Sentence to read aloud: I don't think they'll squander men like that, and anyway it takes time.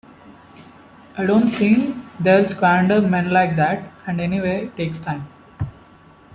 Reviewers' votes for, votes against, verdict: 2, 0, accepted